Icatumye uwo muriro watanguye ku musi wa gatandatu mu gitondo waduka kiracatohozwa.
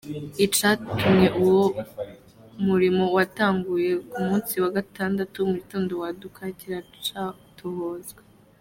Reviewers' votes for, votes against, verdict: 2, 1, accepted